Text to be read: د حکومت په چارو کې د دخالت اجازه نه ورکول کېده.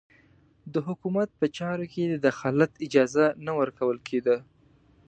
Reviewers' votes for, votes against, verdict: 2, 0, accepted